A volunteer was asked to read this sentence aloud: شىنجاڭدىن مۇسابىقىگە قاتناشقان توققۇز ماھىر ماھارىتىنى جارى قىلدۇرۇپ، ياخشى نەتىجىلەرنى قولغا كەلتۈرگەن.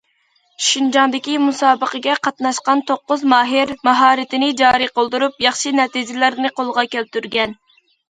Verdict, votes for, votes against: rejected, 0, 2